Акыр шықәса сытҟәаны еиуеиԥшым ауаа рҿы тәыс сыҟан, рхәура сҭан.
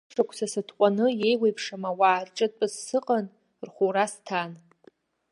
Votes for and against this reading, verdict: 0, 2, rejected